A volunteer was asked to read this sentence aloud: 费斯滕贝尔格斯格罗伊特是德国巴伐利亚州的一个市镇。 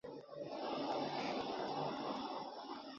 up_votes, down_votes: 2, 1